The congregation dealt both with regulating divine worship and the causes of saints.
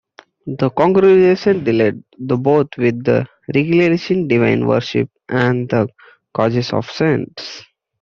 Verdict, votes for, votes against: rejected, 0, 2